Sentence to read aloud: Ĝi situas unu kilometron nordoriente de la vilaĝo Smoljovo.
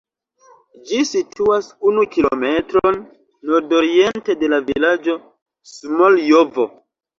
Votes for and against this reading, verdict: 2, 1, accepted